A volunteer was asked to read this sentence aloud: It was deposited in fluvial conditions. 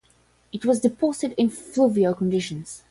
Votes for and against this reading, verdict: 5, 0, accepted